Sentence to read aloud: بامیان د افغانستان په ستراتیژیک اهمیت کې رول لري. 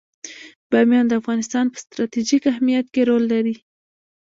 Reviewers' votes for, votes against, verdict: 1, 2, rejected